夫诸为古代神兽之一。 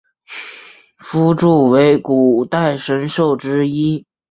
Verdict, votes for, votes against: accepted, 4, 0